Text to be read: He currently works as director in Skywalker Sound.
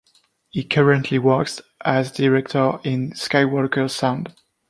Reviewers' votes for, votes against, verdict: 2, 0, accepted